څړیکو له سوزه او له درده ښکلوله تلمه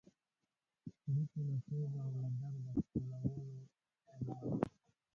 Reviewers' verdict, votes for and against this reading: rejected, 0, 2